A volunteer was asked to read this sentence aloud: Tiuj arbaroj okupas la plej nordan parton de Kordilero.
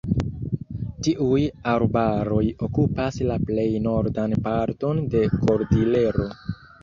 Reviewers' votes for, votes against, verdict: 2, 0, accepted